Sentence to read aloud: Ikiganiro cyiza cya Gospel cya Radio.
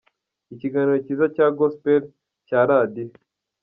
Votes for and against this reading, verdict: 2, 0, accepted